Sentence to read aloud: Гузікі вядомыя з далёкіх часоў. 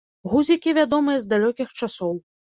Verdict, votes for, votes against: rejected, 1, 2